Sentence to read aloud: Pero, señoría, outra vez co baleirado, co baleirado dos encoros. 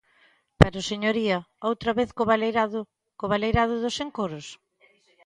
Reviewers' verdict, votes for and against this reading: accepted, 2, 0